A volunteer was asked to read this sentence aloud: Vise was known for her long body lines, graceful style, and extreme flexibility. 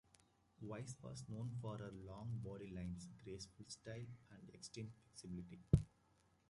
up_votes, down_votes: 0, 2